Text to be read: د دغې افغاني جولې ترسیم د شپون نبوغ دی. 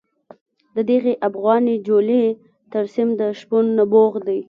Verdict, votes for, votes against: accepted, 2, 0